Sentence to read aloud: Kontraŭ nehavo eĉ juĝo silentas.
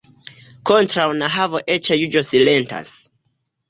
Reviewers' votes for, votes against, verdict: 2, 0, accepted